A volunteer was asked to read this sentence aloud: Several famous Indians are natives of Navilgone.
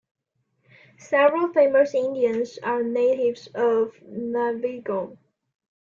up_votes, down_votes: 2, 1